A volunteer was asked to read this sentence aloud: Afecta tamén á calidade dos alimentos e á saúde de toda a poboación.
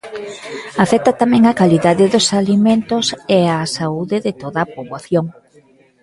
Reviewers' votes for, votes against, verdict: 2, 1, accepted